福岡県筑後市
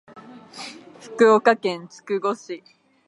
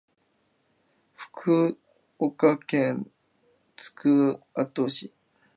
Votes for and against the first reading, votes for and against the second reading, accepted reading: 2, 0, 4, 5, first